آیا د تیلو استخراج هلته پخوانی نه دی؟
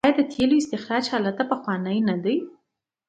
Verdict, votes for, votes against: accepted, 2, 0